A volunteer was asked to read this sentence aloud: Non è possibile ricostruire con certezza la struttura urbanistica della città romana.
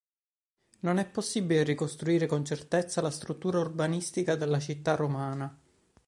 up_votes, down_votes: 2, 0